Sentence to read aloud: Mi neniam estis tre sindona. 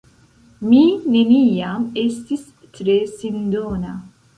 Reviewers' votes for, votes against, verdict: 0, 2, rejected